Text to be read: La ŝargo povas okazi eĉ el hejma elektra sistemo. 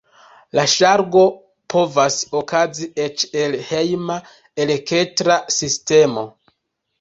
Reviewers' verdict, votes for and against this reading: rejected, 1, 2